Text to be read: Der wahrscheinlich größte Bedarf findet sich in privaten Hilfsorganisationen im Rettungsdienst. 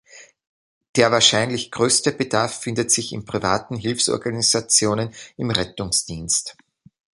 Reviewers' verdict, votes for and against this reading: accepted, 2, 1